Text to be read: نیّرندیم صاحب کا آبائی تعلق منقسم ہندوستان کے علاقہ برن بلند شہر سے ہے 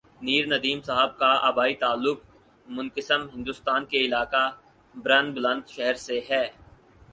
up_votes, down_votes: 4, 2